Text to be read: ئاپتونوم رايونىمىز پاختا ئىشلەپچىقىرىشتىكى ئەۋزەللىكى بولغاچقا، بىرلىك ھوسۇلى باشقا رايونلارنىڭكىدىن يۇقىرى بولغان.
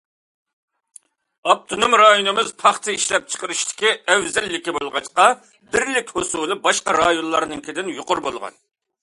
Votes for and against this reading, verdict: 2, 0, accepted